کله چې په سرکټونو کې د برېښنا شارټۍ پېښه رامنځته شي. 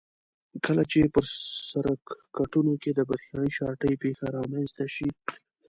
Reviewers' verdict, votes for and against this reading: rejected, 1, 2